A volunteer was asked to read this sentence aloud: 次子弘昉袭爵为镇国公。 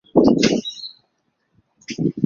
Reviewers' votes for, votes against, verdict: 0, 5, rejected